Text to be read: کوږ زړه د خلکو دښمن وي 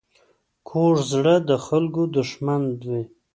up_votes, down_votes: 2, 0